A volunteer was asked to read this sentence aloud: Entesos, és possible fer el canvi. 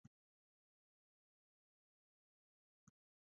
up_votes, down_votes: 0, 2